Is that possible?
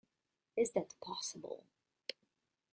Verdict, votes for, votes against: accepted, 2, 0